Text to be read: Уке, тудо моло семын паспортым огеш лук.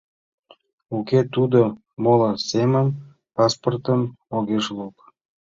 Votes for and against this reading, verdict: 2, 0, accepted